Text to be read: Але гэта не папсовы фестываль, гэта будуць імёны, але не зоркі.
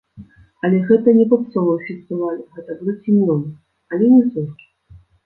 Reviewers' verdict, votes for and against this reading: rejected, 1, 2